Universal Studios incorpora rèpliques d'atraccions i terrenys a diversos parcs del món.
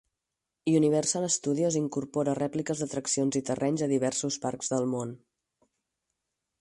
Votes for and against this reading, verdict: 4, 0, accepted